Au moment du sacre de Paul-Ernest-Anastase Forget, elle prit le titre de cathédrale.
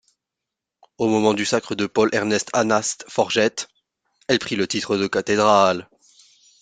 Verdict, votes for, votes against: rejected, 1, 2